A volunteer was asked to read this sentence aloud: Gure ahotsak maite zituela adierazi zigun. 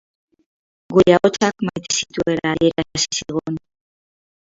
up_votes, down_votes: 0, 4